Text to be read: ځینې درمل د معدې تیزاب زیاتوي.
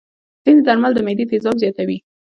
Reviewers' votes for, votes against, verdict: 1, 2, rejected